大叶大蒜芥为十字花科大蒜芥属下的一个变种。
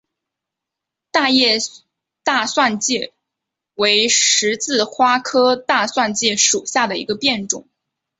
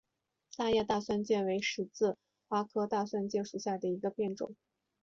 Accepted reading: second